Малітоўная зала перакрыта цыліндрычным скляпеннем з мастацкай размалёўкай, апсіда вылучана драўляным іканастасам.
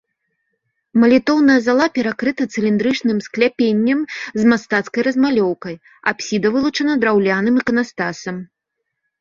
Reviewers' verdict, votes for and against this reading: rejected, 0, 2